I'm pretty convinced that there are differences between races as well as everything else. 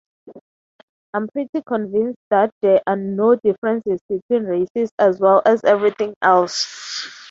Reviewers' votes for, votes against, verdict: 0, 3, rejected